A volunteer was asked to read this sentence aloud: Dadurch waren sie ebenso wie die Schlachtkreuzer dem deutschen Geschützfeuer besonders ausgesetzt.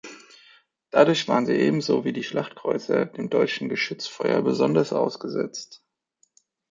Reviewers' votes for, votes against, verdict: 2, 0, accepted